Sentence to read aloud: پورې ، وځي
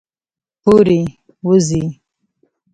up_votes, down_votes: 1, 2